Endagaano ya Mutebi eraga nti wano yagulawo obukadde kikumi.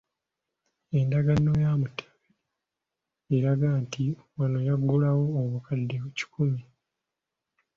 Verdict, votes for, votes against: accepted, 3, 1